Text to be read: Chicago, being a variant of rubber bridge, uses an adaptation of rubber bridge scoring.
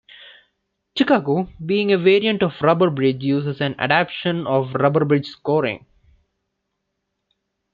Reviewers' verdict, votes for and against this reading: rejected, 0, 2